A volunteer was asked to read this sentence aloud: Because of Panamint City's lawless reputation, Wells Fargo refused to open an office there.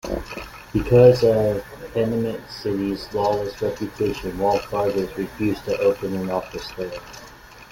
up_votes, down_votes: 2, 0